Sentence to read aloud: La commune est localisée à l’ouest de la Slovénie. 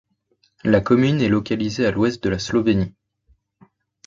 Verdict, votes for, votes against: accepted, 2, 0